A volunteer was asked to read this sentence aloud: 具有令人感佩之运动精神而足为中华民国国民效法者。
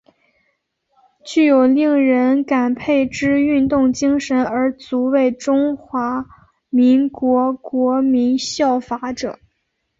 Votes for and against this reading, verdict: 3, 0, accepted